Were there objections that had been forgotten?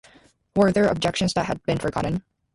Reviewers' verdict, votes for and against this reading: accepted, 2, 0